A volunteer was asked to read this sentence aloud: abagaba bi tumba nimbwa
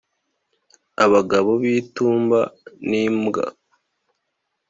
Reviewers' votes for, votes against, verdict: 0, 2, rejected